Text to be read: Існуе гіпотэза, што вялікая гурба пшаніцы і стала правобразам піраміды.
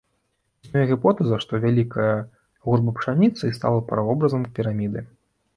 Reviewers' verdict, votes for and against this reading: accepted, 2, 1